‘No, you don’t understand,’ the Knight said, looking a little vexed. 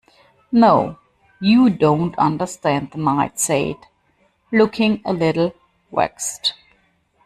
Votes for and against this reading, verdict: 1, 2, rejected